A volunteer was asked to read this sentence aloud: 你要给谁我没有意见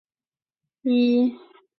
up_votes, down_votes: 0, 3